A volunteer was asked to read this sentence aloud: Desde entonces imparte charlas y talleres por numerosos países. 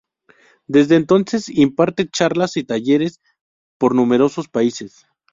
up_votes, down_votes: 2, 0